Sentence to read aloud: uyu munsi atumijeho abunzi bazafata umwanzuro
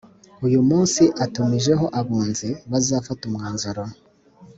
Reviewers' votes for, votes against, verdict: 2, 0, accepted